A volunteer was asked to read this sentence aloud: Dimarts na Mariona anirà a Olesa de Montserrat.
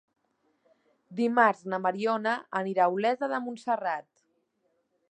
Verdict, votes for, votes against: accepted, 2, 0